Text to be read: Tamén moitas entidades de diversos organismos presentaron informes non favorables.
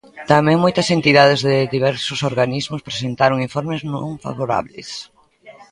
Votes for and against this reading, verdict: 2, 0, accepted